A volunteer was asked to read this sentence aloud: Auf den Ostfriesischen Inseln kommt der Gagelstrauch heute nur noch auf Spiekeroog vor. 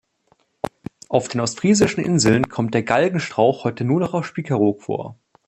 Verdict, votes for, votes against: rejected, 0, 2